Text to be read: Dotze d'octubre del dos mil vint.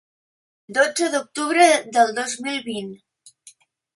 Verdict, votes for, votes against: accepted, 2, 0